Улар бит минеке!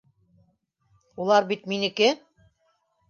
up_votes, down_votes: 2, 0